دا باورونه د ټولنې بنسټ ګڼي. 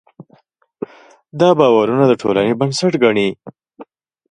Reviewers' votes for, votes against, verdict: 2, 0, accepted